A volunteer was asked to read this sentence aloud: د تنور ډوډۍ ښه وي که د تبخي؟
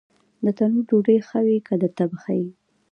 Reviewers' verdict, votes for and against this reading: accepted, 2, 1